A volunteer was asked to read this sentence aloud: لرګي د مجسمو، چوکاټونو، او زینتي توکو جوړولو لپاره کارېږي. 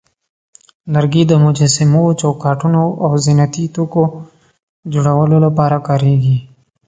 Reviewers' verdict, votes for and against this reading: accepted, 2, 0